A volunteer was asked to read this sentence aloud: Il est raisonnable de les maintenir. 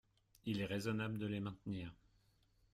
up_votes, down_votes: 1, 2